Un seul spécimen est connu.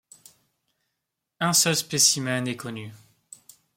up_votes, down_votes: 2, 0